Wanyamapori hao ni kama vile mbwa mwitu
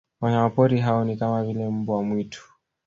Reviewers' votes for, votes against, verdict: 0, 2, rejected